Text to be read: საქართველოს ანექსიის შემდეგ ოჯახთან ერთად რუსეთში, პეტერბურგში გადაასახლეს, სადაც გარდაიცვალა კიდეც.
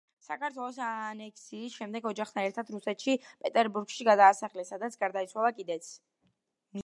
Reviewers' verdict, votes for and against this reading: rejected, 1, 2